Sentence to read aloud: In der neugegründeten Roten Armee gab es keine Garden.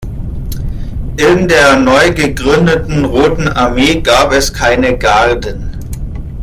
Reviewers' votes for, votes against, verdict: 2, 1, accepted